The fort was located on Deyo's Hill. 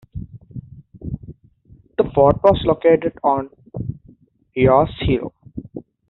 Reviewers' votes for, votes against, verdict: 2, 0, accepted